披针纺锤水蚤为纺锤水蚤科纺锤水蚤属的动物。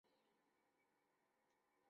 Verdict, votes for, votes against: rejected, 2, 3